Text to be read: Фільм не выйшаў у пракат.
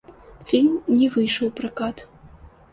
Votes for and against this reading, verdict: 2, 0, accepted